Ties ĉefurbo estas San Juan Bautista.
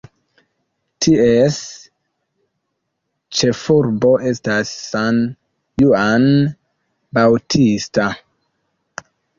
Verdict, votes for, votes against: accepted, 2, 0